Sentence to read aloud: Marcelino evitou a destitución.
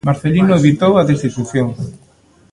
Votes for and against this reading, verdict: 1, 2, rejected